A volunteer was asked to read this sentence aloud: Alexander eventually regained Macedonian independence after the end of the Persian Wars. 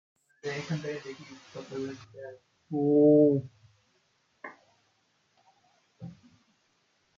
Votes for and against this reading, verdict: 0, 2, rejected